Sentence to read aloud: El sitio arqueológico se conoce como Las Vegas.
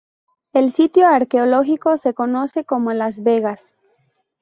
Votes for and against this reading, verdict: 2, 0, accepted